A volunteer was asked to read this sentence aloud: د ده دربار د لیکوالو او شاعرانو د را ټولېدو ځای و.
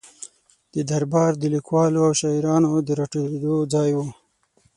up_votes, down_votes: 6, 3